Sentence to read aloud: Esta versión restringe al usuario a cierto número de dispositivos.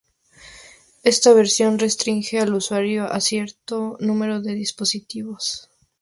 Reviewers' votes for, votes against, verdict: 2, 0, accepted